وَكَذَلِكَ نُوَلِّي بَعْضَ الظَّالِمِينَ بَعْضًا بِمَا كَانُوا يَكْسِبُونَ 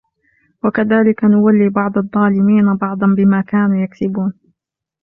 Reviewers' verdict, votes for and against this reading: accepted, 2, 0